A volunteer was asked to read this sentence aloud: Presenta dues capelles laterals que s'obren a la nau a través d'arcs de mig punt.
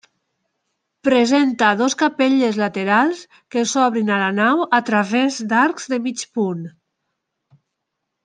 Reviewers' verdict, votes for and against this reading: rejected, 1, 2